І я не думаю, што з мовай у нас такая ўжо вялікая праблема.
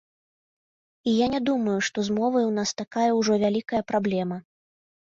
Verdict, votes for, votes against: accepted, 3, 0